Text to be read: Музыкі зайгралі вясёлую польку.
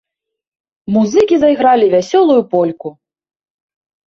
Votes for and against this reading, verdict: 2, 0, accepted